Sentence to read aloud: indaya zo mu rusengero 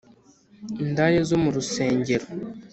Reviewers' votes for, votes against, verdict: 2, 0, accepted